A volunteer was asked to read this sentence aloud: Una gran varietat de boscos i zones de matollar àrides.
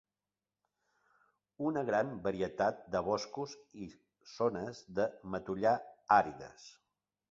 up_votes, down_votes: 2, 0